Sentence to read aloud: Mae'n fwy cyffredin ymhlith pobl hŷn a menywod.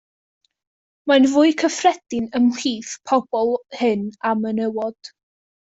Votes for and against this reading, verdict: 1, 2, rejected